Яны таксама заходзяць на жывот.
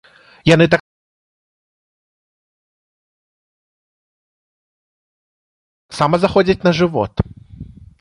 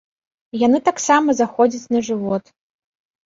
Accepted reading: second